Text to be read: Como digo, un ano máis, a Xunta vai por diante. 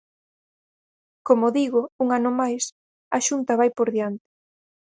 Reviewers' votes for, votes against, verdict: 4, 2, accepted